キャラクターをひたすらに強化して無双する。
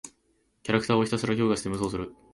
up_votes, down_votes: 2, 0